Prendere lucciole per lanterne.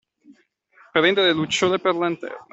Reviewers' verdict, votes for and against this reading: accepted, 2, 0